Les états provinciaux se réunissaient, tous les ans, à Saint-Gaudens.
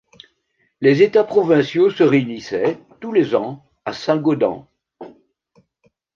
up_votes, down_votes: 1, 2